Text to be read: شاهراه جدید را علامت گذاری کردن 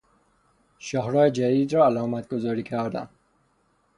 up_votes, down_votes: 0, 3